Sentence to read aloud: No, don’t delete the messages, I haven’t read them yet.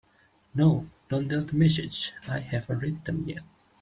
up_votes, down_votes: 0, 2